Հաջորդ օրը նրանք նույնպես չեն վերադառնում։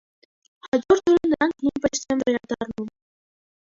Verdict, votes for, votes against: rejected, 0, 2